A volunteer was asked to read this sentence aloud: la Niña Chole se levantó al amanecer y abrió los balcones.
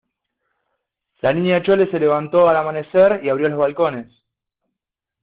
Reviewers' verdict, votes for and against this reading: accepted, 2, 0